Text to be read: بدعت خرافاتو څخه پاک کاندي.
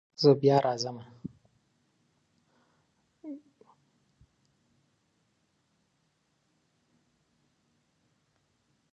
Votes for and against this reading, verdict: 1, 2, rejected